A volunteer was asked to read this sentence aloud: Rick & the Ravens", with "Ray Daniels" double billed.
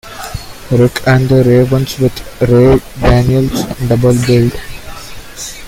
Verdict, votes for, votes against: rejected, 0, 2